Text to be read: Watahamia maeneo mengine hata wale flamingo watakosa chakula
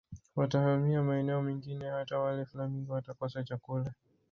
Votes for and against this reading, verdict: 1, 2, rejected